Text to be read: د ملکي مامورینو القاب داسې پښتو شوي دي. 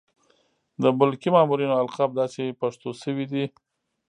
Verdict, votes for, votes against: accepted, 2, 1